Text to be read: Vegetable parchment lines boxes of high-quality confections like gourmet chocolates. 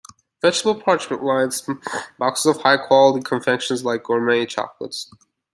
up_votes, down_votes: 1, 2